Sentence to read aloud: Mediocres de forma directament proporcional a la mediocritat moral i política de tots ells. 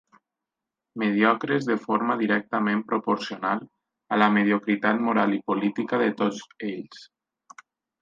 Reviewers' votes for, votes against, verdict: 10, 0, accepted